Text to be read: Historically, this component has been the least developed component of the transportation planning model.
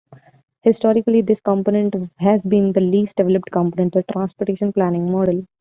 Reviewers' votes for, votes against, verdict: 1, 2, rejected